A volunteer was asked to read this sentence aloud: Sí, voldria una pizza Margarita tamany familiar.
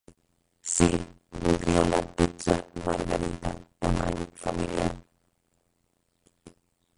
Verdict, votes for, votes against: rejected, 0, 4